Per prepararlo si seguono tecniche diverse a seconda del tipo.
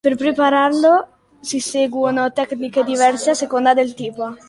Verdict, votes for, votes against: accepted, 2, 0